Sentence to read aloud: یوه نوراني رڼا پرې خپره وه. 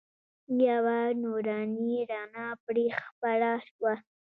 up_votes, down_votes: 2, 1